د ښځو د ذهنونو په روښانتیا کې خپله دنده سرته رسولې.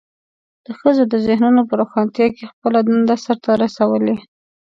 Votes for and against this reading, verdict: 2, 0, accepted